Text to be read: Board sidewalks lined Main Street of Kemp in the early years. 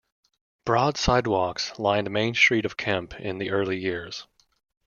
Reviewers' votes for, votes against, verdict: 0, 2, rejected